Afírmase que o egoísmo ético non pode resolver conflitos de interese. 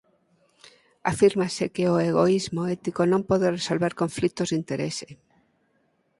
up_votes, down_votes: 4, 0